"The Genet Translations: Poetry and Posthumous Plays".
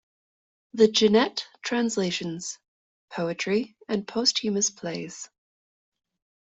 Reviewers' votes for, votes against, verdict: 2, 1, accepted